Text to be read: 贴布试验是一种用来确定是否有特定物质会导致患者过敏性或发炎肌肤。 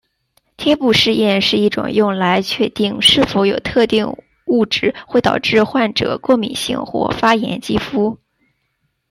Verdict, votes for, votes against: accepted, 2, 1